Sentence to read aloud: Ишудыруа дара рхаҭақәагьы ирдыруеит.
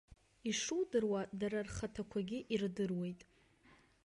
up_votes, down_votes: 2, 0